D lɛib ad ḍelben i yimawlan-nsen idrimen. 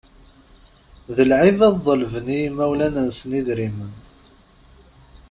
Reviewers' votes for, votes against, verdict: 2, 0, accepted